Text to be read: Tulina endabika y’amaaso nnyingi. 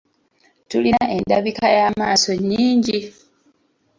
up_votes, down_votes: 1, 2